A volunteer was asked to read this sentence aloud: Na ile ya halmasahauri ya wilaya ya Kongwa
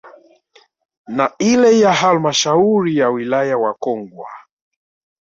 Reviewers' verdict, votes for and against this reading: accepted, 2, 0